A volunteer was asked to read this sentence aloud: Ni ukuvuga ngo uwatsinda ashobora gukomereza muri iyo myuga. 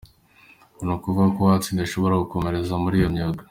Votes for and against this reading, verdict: 2, 1, accepted